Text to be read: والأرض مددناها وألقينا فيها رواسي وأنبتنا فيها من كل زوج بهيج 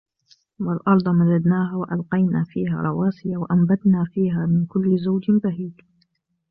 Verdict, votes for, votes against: rejected, 1, 2